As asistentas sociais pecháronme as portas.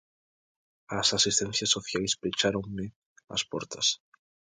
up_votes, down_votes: 0, 2